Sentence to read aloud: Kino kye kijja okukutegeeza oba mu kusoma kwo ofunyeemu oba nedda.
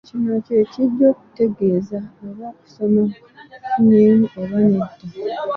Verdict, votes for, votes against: rejected, 2, 3